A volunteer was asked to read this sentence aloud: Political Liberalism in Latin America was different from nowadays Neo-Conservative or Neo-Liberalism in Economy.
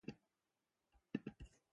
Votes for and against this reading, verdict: 0, 2, rejected